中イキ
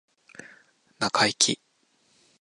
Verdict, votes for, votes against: accepted, 2, 0